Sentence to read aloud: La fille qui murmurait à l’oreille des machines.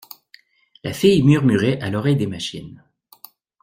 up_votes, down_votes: 0, 2